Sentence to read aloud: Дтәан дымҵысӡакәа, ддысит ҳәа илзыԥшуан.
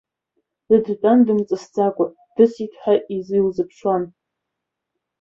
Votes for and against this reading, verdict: 0, 2, rejected